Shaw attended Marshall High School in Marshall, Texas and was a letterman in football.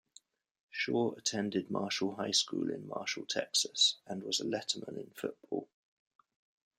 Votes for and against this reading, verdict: 2, 0, accepted